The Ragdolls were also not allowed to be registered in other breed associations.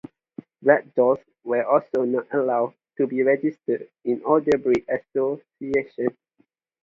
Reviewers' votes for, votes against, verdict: 0, 2, rejected